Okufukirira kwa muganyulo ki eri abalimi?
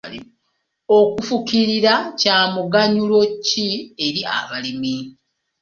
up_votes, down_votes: 0, 2